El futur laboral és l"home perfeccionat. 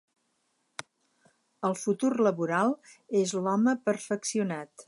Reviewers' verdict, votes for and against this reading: accepted, 4, 0